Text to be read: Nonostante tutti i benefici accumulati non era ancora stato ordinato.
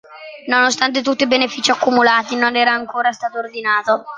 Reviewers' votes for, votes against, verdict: 2, 0, accepted